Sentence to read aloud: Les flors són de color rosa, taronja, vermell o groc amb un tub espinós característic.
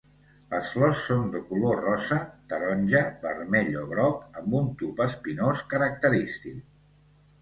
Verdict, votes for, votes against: accepted, 2, 0